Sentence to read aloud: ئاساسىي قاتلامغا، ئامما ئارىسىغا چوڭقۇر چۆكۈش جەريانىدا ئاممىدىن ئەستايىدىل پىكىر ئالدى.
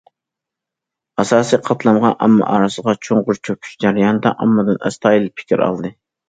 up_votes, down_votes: 2, 0